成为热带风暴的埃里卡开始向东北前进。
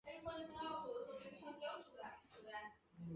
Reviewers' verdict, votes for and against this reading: rejected, 0, 3